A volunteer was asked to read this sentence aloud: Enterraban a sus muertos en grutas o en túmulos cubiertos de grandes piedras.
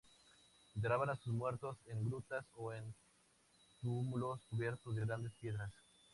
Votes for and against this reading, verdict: 2, 0, accepted